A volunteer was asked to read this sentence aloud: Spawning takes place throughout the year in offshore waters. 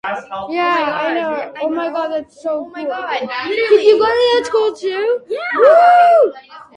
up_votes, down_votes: 0, 2